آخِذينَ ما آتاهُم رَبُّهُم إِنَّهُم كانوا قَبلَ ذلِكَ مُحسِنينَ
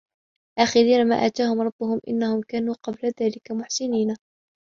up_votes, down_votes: 2, 0